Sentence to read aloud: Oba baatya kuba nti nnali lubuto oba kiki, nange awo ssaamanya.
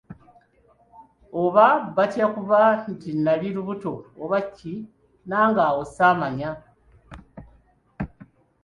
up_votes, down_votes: 0, 2